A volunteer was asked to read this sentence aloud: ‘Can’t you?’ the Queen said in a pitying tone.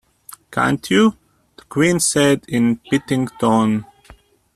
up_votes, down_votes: 0, 2